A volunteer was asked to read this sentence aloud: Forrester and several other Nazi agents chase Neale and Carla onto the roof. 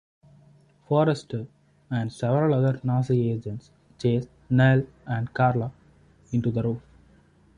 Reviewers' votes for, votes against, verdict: 0, 2, rejected